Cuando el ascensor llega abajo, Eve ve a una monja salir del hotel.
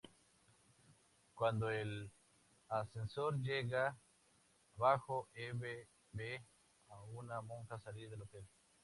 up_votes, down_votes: 0, 2